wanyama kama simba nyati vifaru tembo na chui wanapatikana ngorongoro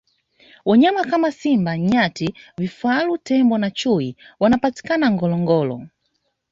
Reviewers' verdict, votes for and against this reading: accepted, 2, 0